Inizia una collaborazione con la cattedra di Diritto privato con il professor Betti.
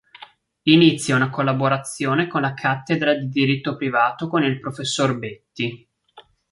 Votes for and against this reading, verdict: 2, 0, accepted